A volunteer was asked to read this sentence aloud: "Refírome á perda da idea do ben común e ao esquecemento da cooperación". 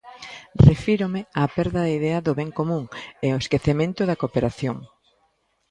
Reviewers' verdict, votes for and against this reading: accepted, 2, 0